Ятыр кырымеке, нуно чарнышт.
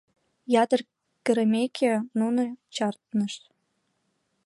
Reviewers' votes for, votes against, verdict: 2, 0, accepted